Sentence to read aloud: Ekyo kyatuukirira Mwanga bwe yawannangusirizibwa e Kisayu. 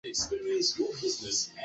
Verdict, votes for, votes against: rejected, 0, 2